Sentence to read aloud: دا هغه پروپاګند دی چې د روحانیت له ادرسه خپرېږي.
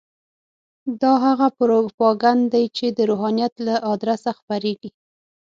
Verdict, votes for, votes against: accepted, 6, 0